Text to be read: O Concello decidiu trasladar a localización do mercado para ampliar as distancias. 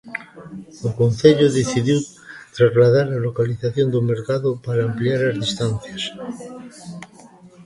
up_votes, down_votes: 2, 0